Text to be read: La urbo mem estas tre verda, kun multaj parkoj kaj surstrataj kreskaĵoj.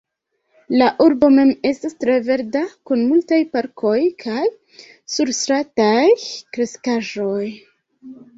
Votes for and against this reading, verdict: 2, 1, accepted